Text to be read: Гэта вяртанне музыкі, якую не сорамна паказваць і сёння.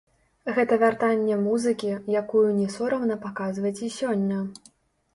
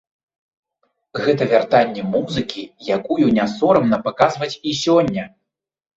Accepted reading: second